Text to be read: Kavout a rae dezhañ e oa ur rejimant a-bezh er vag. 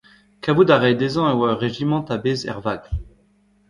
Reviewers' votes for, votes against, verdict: 1, 2, rejected